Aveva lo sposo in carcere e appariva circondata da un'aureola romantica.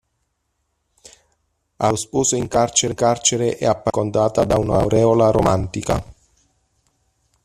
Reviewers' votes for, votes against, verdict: 0, 2, rejected